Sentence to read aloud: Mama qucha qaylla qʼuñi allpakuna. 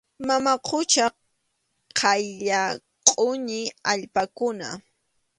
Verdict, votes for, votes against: accepted, 2, 1